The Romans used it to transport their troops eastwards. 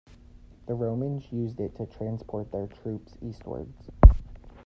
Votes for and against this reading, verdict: 1, 2, rejected